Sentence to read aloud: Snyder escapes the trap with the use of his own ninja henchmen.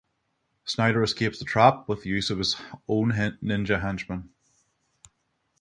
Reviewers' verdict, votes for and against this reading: rejected, 3, 3